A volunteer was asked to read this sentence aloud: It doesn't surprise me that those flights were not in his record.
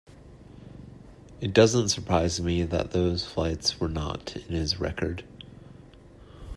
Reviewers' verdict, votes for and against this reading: accepted, 2, 0